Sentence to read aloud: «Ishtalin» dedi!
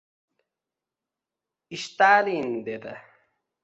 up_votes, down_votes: 2, 1